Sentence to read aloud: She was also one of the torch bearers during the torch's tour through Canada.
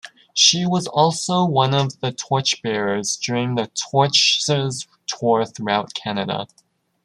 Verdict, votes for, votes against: rejected, 0, 2